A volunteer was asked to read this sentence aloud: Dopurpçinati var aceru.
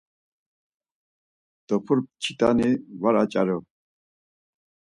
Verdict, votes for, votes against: rejected, 2, 4